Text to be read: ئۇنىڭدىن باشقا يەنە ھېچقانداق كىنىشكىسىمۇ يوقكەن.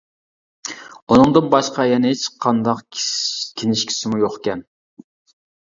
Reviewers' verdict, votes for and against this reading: rejected, 0, 2